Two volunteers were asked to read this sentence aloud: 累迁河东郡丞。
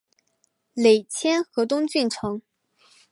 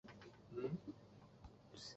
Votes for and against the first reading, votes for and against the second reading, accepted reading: 2, 0, 0, 4, first